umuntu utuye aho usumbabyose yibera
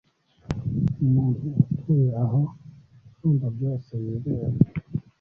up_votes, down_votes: 2, 1